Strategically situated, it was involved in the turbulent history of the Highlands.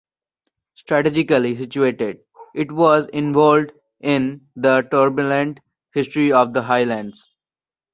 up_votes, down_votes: 2, 1